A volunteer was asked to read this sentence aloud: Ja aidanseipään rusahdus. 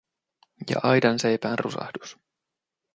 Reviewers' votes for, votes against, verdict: 2, 0, accepted